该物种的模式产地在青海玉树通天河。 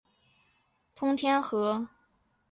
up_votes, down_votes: 0, 4